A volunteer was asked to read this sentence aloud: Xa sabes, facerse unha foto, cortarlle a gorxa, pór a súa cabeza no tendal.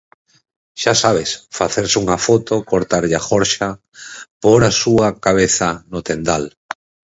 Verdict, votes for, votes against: rejected, 2, 4